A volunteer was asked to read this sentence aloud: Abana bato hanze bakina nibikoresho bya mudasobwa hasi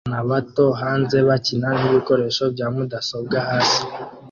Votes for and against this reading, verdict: 0, 2, rejected